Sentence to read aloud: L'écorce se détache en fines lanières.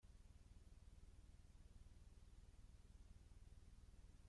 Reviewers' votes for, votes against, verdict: 0, 2, rejected